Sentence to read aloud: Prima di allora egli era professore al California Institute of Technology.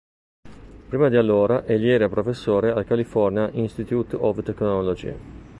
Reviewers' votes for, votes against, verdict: 2, 0, accepted